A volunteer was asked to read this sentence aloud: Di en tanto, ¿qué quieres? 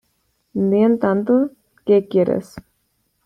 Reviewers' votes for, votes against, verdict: 2, 0, accepted